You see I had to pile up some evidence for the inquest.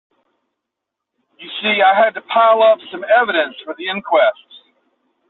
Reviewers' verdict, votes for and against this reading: accepted, 2, 0